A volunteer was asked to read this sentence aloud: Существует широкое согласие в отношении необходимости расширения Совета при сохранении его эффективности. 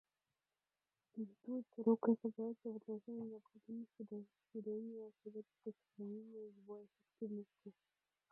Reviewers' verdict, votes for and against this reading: rejected, 1, 2